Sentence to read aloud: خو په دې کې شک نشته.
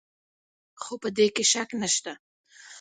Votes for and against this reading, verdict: 1, 2, rejected